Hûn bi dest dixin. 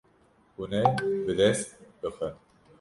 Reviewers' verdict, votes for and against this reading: rejected, 0, 2